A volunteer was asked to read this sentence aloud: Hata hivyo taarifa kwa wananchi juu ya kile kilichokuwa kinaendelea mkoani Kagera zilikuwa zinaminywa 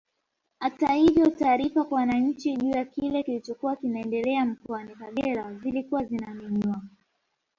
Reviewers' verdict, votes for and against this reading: rejected, 1, 2